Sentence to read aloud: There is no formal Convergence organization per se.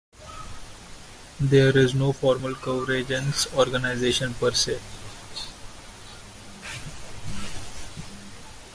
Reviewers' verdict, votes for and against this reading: accepted, 2, 1